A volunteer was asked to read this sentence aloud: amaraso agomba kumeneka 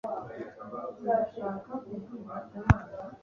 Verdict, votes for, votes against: rejected, 1, 2